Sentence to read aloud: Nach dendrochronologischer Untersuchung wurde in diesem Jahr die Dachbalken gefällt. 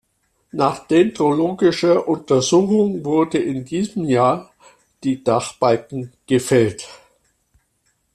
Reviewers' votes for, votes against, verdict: 0, 2, rejected